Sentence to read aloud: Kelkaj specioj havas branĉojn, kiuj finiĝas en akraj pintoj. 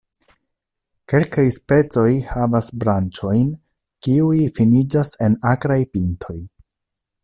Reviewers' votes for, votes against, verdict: 0, 2, rejected